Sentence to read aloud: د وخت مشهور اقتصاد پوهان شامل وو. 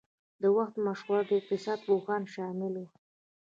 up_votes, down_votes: 2, 0